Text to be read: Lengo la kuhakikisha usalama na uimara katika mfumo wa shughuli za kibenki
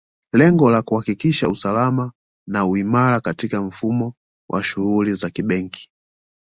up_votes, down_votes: 2, 1